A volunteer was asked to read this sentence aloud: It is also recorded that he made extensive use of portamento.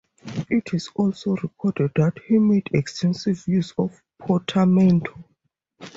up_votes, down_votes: 2, 2